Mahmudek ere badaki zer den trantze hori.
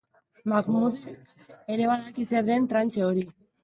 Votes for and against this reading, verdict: 1, 3, rejected